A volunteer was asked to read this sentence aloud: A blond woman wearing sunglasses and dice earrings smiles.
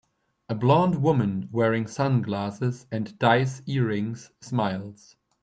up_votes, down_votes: 2, 0